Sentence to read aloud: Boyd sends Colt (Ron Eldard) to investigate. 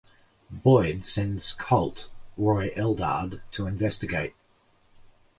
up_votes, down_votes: 1, 2